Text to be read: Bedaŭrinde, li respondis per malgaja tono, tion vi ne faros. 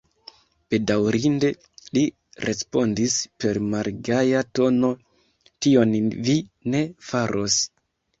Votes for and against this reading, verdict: 2, 0, accepted